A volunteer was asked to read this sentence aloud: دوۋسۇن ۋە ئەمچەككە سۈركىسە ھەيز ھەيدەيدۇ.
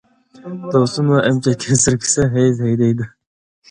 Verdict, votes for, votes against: rejected, 0, 2